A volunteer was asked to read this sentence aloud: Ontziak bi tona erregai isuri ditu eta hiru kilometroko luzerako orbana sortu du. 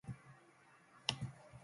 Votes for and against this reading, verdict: 0, 2, rejected